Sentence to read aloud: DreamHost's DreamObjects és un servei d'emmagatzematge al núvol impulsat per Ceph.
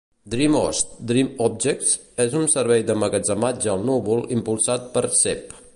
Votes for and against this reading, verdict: 2, 0, accepted